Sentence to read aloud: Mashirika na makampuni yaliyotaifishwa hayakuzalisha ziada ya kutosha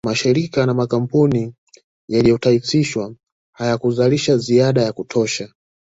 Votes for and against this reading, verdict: 2, 0, accepted